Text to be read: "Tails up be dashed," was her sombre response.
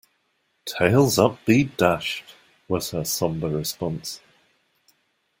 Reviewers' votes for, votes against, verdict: 2, 0, accepted